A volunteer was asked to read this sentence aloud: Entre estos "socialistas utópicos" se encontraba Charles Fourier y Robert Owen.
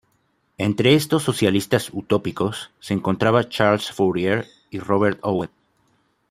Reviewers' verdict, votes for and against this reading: accepted, 2, 0